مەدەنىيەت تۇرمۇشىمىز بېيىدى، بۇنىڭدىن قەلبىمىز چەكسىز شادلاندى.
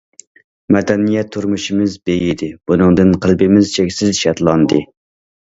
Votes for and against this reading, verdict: 2, 0, accepted